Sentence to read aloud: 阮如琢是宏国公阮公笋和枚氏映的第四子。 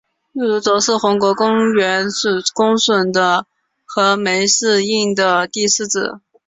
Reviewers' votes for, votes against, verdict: 4, 1, accepted